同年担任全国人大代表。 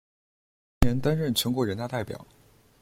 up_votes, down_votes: 1, 2